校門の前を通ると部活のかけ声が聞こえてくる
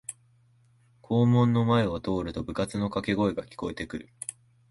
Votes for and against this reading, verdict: 2, 0, accepted